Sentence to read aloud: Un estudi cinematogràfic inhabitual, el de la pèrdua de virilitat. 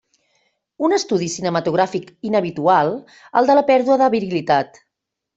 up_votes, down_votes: 2, 0